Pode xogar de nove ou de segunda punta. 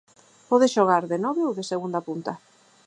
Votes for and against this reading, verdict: 4, 0, accepted